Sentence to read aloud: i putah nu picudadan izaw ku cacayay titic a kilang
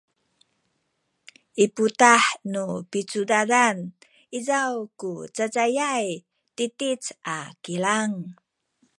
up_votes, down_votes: 2, 0